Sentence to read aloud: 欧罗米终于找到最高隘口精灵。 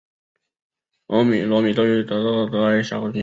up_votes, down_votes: 2, 5